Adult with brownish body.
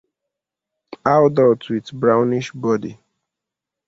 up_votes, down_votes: 2, 1